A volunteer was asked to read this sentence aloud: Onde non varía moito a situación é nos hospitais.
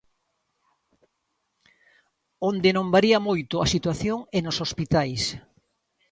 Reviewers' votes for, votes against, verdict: 2, 0, accepted